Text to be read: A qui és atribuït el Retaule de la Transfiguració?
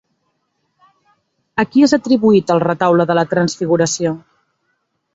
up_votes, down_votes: 3, 0